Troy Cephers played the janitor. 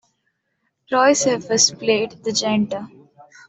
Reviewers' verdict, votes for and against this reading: accepted, 2, 1